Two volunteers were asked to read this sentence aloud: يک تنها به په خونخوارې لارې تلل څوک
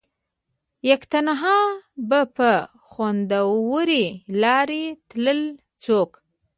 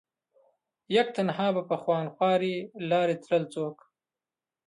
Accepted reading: second